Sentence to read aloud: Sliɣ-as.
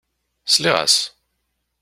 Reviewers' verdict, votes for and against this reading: accepted, 2, 0